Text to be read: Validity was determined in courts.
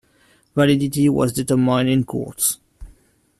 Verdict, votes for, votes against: rejected, 1, 2